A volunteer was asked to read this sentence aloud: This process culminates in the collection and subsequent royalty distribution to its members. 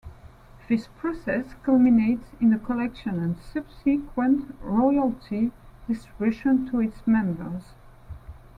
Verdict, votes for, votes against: accepted, 2, 0